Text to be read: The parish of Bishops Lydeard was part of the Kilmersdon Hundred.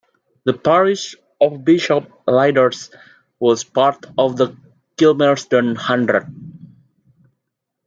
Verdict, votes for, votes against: rejected, 1, 2